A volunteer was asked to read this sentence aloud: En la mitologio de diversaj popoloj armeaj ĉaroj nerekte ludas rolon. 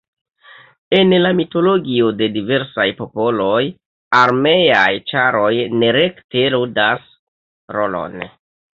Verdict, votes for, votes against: accepted, 2, 1